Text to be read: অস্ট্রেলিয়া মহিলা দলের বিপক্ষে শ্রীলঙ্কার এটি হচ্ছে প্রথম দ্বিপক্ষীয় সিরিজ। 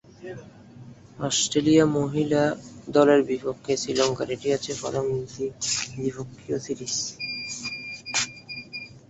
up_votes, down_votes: 0, 2